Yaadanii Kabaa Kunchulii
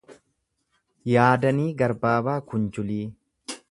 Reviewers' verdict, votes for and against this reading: rejected, 0, 2